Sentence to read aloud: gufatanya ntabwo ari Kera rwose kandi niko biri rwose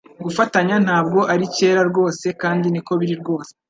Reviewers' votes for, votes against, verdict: 2, 0, accepted